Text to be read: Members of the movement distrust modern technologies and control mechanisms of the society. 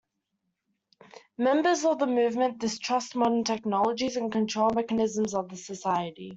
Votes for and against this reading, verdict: 2, 1, accepted